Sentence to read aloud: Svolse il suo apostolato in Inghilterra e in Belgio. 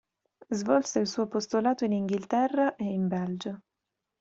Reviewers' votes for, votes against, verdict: 2, 0, accepted